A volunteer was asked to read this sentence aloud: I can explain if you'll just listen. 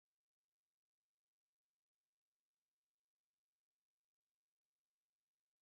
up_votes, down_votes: 0, 3